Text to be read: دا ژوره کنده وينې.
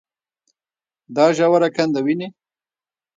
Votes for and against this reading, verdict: 2, 1, accepted